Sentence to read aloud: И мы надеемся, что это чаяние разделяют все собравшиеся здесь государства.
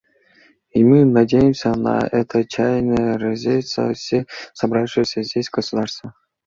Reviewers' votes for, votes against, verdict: 0, 2, rejected